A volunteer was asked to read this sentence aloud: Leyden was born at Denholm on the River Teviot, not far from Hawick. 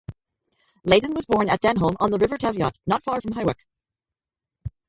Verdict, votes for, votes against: rejected, 2, 2